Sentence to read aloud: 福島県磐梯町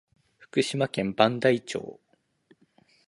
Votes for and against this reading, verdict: 9, 1, accepted